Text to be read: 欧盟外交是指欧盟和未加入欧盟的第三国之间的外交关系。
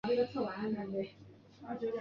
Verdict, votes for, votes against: rejected, 1, 2